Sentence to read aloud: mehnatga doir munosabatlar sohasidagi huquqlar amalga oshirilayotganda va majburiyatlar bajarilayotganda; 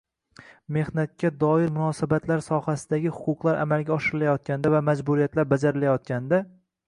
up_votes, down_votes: 2, 0